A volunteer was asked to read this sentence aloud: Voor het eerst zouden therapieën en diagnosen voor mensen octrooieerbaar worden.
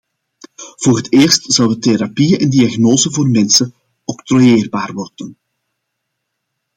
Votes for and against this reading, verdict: 2, 0, accepted